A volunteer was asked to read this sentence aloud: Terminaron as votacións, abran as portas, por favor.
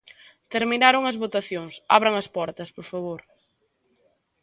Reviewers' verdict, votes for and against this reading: accepted, 2, 0